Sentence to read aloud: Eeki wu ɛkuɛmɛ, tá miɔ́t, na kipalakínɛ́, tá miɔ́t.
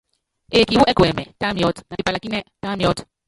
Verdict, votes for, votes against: rejected, 0, 3